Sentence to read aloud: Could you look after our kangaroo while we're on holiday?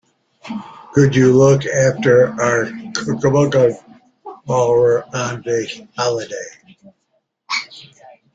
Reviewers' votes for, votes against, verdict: 0, 2, rejected